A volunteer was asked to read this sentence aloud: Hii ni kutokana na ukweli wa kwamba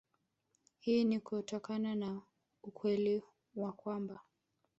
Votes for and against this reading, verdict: 0, 2, rejected